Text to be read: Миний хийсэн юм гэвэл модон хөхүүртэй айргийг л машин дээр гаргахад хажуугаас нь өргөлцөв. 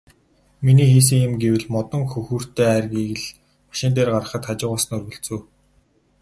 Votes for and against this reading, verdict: 0, 2, rejected